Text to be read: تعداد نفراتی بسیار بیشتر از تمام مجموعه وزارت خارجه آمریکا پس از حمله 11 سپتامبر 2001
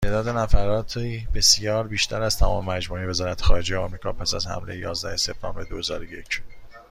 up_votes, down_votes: 0, 2